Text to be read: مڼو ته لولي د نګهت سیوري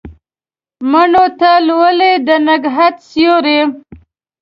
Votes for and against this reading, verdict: 2, 0, accepted